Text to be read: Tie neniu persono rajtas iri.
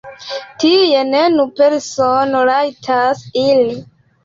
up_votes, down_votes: 2, 3